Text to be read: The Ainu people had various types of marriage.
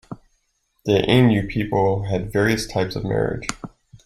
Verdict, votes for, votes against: accepted, 2, 0